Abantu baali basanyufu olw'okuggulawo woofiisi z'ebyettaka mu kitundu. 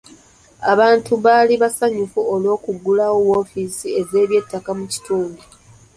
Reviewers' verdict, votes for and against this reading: accepted, 2, 0